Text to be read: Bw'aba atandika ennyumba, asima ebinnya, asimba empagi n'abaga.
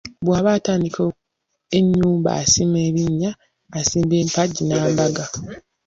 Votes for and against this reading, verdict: 0, 2, rejected